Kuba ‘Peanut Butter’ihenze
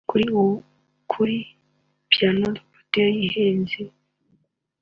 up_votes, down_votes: 1, 2